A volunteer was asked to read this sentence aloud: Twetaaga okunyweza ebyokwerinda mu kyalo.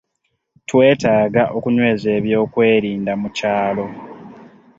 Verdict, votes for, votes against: accepted, 2, 0